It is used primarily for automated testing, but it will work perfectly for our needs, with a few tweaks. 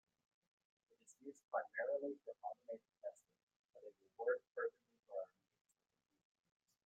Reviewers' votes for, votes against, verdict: 0, 2, rejected